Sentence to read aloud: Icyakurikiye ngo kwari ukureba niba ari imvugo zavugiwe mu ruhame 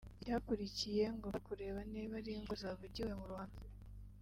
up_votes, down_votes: 0, 2